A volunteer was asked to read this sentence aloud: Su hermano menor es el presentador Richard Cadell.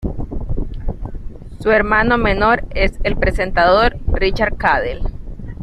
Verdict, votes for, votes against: accepted, 2, 0